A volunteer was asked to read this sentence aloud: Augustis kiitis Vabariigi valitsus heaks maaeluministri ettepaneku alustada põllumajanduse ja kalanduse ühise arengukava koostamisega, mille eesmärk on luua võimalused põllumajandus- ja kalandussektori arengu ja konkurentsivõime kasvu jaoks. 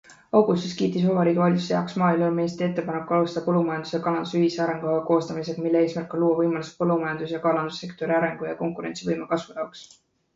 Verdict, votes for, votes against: rejected, 1, 2